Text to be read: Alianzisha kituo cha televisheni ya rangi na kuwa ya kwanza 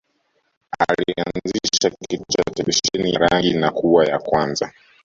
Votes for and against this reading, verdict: 1, 3, rejected